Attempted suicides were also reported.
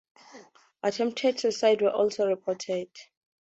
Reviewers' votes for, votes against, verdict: 4, 0, accepted